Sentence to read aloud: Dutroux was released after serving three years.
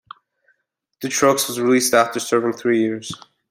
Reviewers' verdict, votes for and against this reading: rejected, 1, 2